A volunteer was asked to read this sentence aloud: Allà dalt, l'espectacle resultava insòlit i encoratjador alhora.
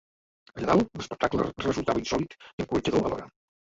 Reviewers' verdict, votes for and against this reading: rejected, 0, 2